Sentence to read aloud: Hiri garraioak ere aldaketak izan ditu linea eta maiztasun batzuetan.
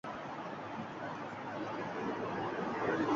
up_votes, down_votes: 0, 4